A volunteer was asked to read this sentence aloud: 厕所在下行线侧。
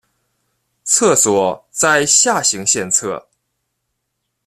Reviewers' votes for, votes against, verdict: 2, 0, accepted